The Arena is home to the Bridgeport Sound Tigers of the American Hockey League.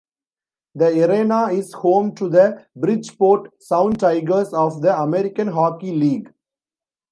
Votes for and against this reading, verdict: 2, 0, accepted